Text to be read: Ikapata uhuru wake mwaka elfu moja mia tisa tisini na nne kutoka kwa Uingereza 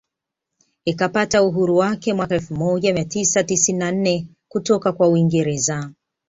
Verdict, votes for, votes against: accepted, 2, 0